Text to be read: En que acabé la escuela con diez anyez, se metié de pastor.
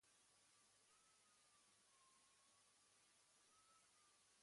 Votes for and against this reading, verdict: 1, 2, rejected